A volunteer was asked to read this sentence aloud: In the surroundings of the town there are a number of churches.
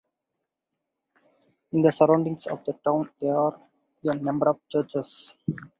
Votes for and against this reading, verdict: 2, 0, accepted